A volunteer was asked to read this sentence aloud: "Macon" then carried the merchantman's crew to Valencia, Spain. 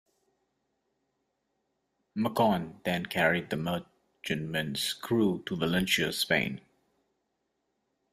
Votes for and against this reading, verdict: 2, 0, accepted